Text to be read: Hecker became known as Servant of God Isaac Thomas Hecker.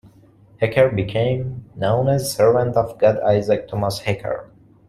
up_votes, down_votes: 2, 1